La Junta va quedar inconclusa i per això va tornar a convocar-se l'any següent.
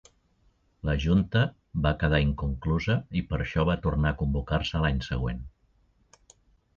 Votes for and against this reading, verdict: 2, 0, accepted